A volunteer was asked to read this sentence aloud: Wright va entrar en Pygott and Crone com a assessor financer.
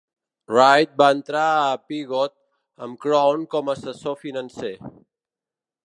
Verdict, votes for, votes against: rejected, 1, 2